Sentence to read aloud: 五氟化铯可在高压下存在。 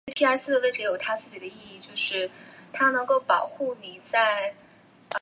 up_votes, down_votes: 0, 2